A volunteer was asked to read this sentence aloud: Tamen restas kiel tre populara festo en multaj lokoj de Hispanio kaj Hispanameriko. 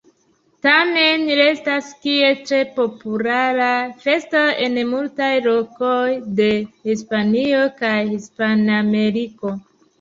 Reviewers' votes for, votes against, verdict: 0, 2, rejected